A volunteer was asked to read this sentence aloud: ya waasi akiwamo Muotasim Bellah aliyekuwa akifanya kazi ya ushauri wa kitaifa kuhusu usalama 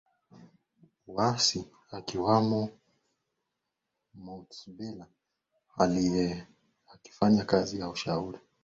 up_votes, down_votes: 0, 2